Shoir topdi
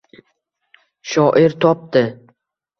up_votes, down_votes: 2, 0